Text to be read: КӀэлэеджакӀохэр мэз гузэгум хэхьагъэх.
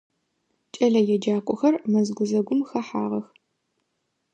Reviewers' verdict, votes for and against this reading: accepted, 2, 0